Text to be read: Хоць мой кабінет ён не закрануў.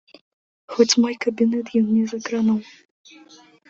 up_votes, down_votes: 1, 2